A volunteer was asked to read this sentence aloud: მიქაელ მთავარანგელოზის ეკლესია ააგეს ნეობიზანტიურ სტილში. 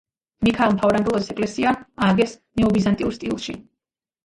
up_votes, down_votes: 1, 2